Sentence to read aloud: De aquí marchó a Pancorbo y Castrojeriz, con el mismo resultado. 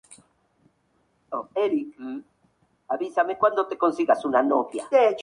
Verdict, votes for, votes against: rejected, 0, 2